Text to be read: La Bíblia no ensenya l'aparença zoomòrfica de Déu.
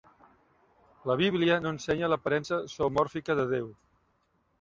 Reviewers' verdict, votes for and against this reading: accepted, 2, 0